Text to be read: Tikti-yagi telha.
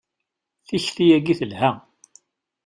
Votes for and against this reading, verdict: 2, 0, accepted